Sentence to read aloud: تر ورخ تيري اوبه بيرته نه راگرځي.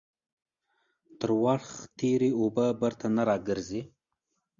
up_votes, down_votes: 2, 0